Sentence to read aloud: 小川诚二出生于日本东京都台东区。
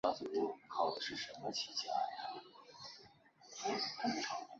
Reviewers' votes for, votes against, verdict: 0, 2, rejected